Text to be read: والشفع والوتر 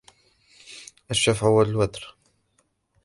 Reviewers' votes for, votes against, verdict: 0, 2, rejected